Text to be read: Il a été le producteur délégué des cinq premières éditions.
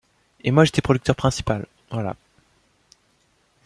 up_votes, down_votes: 0, 2